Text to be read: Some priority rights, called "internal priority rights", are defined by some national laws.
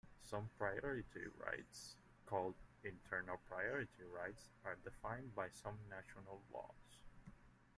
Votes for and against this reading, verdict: 2, 0, accepted